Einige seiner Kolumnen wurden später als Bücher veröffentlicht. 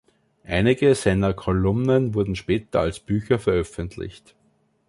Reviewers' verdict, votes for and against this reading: accepted, 2, 0